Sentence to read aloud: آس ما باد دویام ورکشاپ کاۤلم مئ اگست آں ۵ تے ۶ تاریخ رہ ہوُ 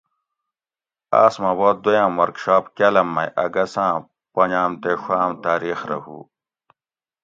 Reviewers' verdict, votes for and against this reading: rejected, 0, 2